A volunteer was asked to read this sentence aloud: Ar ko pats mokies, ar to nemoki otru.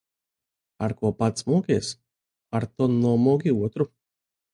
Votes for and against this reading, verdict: 0, 2, rejected